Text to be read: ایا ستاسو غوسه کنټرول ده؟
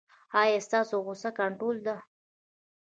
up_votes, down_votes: 1, 2